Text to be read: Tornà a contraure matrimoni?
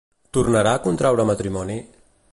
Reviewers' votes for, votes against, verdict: 0, 2, rejected